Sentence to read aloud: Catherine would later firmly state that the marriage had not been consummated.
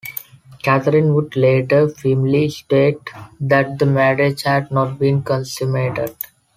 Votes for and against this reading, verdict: 2, 0, accepted